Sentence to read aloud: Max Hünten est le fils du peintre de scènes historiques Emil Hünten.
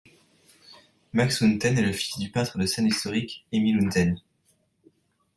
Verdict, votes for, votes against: accepted, 2, 0